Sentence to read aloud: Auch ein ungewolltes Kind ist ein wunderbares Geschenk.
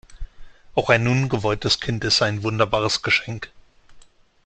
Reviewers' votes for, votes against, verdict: 2, 0, accepted